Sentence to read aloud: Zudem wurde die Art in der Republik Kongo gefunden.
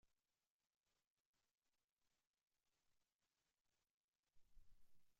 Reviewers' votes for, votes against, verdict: 0, 2, rejected